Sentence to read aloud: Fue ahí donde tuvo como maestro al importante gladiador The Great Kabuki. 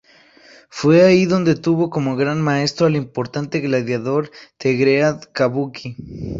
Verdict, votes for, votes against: rejected, 0, 2